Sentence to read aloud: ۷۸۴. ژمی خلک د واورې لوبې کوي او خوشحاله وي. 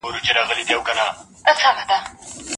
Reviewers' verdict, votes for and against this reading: rejected, 0, 2